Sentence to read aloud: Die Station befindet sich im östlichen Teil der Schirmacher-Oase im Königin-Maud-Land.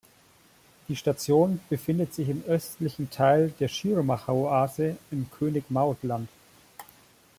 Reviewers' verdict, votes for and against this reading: rejected, 1, 2